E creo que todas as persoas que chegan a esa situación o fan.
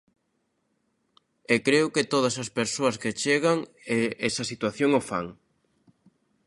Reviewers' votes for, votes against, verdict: 0, 2, rejected